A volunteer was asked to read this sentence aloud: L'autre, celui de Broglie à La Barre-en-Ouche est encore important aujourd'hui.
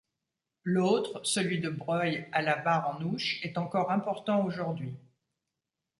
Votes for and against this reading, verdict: 1, 2, rejected